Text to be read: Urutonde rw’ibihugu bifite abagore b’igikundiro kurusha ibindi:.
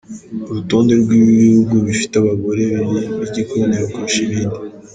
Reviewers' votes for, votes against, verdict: 2, 0, accepted